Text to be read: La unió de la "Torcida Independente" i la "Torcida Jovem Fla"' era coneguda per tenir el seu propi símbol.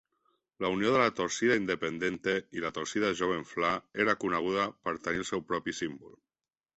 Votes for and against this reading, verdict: 3, 0, accepted